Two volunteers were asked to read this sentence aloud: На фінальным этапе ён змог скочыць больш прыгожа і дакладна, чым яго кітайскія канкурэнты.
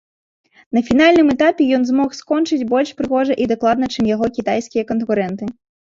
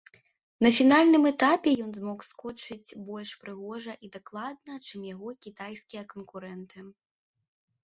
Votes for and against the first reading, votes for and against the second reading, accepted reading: 0, 2, 2, 0, second